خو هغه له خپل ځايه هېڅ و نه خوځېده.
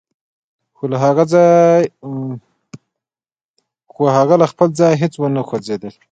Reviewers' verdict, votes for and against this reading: rejected, 2, 3